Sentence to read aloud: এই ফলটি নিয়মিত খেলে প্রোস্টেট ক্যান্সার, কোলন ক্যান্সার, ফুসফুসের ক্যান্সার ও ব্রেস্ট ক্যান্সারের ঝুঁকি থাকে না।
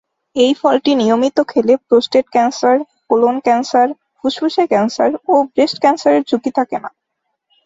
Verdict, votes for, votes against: rejected, 0, 2